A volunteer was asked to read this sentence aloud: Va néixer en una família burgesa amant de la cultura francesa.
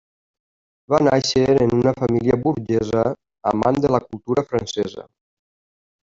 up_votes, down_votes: 3, 0